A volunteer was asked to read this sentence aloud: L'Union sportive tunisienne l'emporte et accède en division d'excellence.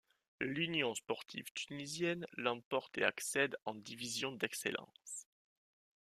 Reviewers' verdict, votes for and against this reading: accepted, 2, 0